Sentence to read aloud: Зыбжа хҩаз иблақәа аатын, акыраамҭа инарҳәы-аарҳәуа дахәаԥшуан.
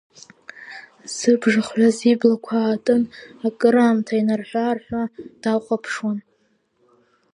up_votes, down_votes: 3, 0